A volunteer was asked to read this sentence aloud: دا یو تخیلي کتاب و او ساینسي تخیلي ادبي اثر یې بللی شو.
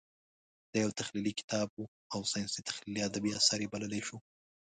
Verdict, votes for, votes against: accepted, 2, 0